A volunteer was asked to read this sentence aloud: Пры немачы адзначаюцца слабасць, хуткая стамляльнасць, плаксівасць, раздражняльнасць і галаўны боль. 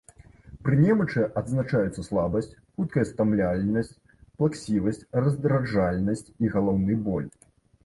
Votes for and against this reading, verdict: 0, 2, rejected